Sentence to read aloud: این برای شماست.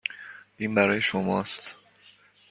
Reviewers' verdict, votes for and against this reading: accepted, 2, 0